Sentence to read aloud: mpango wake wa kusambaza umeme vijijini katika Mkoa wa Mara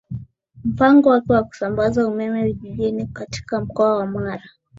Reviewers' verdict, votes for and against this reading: accepted, 5, 1